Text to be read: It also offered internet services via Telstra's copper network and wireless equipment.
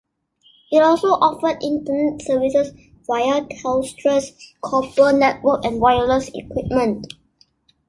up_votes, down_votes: 2, 1